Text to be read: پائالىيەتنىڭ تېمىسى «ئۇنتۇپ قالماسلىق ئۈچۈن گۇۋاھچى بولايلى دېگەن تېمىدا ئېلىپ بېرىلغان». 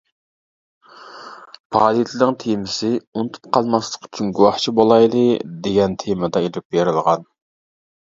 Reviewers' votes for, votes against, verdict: 0, 2, rejected